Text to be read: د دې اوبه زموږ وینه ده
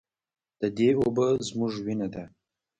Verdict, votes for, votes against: rejected, 1, 2